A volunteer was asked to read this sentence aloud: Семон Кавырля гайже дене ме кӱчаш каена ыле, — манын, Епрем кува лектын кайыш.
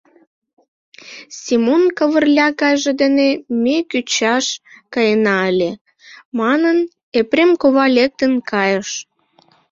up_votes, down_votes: 3, 0